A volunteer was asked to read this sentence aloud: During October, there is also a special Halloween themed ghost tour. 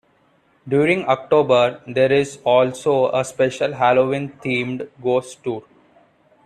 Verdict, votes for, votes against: accepted, 2, 0